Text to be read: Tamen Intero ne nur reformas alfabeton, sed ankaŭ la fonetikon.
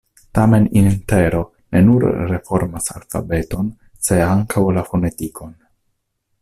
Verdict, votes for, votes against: rejected, 0, 2